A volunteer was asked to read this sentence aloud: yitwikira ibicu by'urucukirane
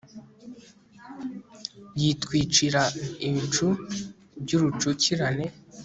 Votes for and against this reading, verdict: 3, 0, accepted